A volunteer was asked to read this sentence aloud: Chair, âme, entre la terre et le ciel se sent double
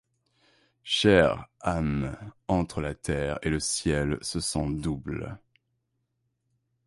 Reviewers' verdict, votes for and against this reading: accepted, 2, 0